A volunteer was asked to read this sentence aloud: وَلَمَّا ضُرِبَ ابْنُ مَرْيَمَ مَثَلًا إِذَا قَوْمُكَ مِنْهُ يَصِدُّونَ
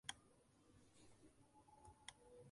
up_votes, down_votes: 0, 2